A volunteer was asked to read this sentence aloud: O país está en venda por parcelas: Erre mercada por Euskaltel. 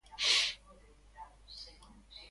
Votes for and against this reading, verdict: 0, 2, rejected